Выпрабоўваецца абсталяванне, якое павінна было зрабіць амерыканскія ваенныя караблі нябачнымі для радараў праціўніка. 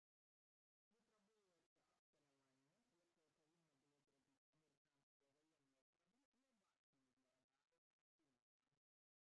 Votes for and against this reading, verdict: 0, 2, rejected